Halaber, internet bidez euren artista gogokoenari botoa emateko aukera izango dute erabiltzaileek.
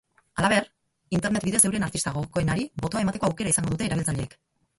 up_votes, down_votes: 0, 6